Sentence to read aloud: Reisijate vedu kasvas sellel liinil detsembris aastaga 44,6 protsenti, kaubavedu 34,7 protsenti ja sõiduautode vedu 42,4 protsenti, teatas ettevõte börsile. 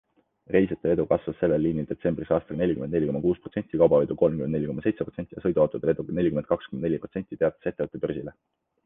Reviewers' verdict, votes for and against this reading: rejected, 0, 2